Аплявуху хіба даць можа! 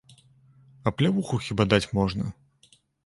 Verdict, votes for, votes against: rejected, 1, 2